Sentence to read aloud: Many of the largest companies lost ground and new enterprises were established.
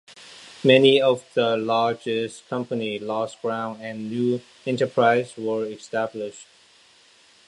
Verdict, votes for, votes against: rejected, 0, 2